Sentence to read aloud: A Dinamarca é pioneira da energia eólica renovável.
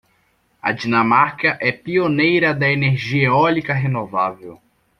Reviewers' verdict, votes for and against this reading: accepted, 2, 0